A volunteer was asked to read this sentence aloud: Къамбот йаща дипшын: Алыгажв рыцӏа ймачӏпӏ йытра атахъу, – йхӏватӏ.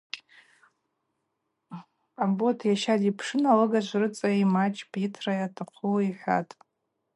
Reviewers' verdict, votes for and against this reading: accepted, 4, 0